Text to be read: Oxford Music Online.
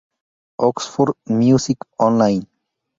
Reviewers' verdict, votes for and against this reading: accepted, 4, 0